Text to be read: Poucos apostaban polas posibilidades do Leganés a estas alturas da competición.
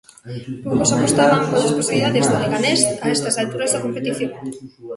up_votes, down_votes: 1, 2